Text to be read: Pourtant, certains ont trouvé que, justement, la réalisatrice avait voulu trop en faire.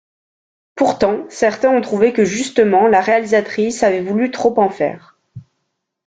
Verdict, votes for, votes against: rejected, 1, 2